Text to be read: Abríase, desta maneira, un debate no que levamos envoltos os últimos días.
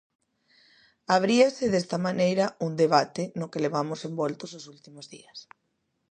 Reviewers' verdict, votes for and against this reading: accepted, 2, 0